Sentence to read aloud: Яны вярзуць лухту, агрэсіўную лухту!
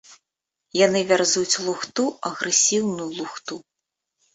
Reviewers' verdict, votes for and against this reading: accepted, 2, 0